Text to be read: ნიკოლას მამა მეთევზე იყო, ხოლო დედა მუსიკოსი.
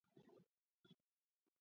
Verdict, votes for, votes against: rejected, 0, 2